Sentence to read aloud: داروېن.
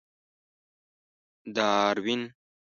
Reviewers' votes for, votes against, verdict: 2, 0, accepted